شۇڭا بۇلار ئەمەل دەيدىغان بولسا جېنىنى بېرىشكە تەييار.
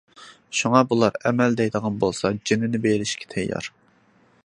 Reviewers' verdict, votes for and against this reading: accepted, 2, 0